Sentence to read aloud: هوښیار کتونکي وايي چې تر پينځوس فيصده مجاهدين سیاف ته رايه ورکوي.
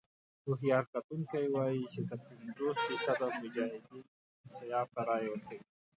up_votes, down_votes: 1, 2